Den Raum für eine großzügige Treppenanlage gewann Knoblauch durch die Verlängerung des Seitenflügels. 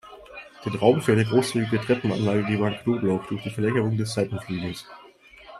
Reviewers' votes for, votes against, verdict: 1, 2, rejected